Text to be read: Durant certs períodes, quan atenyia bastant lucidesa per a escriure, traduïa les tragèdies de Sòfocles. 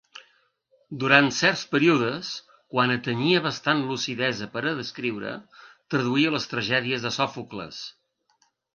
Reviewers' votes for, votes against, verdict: 0, 2, rejected